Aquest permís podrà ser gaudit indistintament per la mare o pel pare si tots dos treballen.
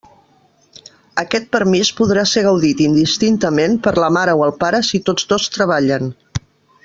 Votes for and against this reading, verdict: 0, 2, rejected